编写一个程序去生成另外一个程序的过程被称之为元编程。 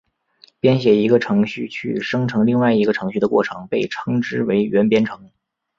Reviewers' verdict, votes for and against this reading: accepted, 2, 1